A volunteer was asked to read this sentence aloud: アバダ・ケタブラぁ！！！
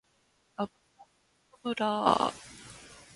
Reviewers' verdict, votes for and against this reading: rejected, 0, 2